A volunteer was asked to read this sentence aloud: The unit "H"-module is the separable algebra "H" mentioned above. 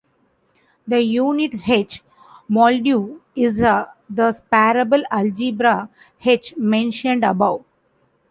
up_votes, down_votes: 0, 2